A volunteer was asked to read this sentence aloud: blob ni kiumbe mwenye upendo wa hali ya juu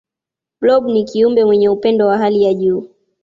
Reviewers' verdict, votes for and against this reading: accepted, 2, 0